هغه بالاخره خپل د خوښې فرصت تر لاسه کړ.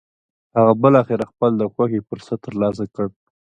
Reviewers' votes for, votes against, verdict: 2, 0, accepted